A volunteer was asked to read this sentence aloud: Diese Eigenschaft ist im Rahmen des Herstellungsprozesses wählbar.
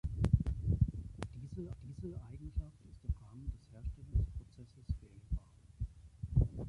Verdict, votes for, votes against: rejected, 0, 3